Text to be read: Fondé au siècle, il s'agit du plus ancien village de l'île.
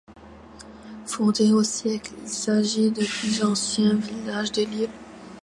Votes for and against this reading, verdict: 1, 2, rejected